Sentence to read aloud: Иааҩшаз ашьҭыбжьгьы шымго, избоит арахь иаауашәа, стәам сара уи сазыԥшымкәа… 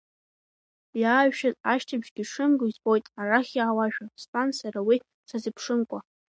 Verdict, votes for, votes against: rejected, 1, 2